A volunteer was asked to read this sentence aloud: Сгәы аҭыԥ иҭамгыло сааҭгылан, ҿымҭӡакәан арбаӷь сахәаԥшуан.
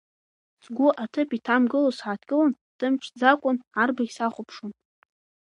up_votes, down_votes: 2, 0